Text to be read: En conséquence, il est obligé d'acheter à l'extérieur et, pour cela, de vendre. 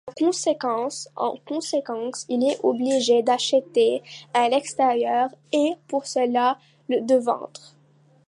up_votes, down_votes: 0, 2